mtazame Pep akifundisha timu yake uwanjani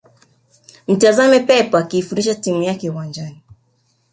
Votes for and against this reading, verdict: 1, 2, rejected